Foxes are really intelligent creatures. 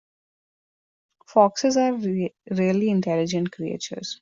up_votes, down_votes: 1, 2